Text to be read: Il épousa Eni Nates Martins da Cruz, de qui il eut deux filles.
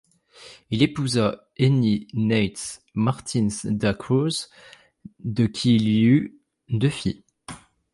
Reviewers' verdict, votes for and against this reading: rejected, 1, 2